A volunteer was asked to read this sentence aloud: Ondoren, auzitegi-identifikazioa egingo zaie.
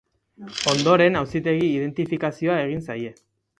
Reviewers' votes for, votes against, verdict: 0, 2, rejected